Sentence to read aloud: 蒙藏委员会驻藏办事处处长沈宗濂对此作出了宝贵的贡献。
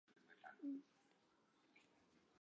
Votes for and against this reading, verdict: 1, 5, rejected